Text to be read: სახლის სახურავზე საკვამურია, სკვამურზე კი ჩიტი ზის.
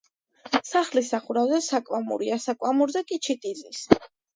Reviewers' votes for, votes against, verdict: 2, 0, accepted